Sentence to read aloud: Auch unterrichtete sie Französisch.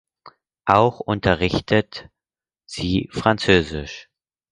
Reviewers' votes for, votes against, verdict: 0, 4, rejected